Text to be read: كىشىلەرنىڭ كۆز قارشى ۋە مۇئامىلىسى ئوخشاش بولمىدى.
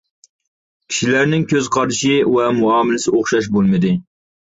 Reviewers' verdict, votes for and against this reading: accepted, 2, 0